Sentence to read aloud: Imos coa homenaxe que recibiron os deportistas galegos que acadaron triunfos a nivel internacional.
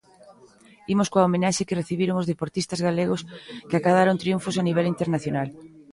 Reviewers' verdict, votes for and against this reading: accepted, 2, 1